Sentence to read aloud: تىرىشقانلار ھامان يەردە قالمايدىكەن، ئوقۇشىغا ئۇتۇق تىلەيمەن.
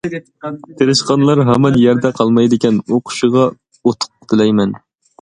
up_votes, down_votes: 2, 0